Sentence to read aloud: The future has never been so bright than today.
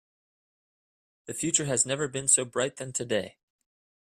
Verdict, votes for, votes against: accepted, 2, 0